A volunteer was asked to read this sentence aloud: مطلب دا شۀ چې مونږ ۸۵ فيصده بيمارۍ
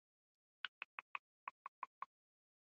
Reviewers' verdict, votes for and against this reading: rejected, 0, 2